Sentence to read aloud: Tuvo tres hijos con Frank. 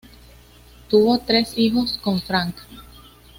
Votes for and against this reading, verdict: 2, 0, accepted